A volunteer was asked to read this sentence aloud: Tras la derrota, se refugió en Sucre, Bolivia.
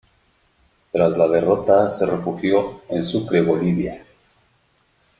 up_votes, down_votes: 2, 1